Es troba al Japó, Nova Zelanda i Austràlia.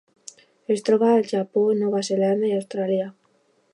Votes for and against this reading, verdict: 2, 0, accepted